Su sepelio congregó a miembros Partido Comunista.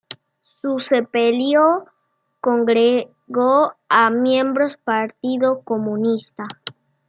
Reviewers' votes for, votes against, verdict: 1, 2, rejected